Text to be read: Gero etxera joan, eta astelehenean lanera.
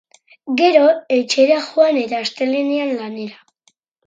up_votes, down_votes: 4, 0